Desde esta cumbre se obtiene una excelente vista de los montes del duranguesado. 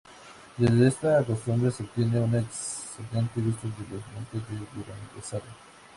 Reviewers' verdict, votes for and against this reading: rejected, 0, 6